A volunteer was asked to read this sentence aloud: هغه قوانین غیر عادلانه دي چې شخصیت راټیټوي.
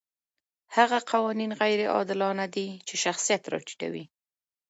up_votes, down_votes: 2, 0